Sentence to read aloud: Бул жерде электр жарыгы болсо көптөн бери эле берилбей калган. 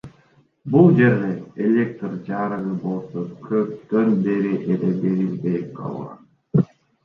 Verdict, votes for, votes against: rejected, 0, 2